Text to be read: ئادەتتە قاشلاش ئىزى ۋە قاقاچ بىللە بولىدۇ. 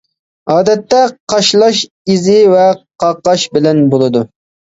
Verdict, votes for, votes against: rejected, 1, 2